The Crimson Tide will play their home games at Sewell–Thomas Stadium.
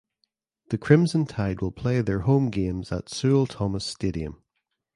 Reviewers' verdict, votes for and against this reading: accepted, 2, 0